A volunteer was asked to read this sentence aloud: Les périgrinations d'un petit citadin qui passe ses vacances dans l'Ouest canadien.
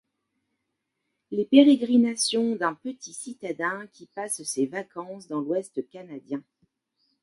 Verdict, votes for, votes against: accepted, 2, 1